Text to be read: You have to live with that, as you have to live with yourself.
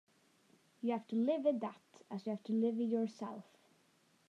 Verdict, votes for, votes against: accepted, 2, 0